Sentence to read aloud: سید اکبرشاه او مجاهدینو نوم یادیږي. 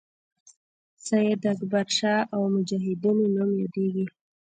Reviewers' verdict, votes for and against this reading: rejected, 1, 2